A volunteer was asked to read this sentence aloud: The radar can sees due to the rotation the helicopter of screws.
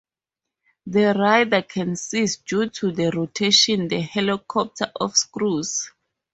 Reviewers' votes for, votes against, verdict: 4, 2, accepted